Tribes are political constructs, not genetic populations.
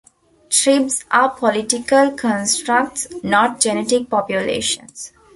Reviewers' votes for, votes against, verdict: 0, 2, rejected